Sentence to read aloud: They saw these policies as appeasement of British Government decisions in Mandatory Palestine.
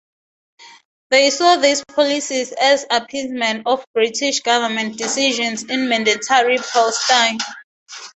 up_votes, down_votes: 2, 0